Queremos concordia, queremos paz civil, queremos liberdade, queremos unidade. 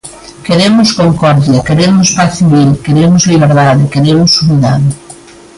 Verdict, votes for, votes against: accepted, 2, 0